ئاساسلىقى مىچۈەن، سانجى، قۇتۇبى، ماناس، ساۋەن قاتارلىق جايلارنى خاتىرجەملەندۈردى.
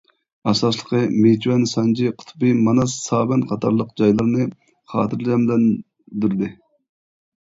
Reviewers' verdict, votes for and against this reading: rejected, 1, 2